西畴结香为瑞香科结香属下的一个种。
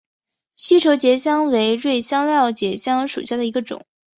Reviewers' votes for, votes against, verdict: 3, 2, accepted